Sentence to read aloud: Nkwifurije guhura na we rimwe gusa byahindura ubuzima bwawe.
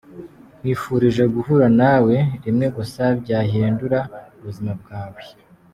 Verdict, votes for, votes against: accepted, 2, 0